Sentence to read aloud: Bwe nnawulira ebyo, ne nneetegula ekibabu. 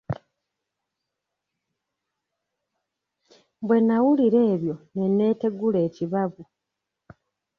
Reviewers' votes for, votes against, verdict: 0, 2, rejected